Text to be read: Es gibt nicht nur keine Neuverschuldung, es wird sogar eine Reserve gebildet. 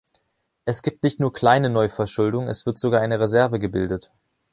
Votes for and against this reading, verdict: 0, 2, rejected